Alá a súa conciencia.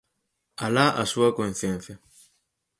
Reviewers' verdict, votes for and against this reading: accepted, 4, 2